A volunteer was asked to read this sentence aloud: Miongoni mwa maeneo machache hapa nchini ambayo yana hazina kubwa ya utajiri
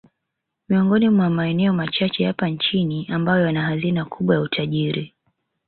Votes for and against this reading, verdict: 2, 1, accepted